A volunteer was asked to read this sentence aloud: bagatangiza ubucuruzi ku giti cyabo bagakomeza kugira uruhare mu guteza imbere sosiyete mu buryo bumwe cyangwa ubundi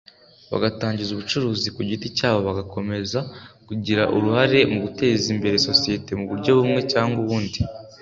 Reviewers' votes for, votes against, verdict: 2, 0, accepted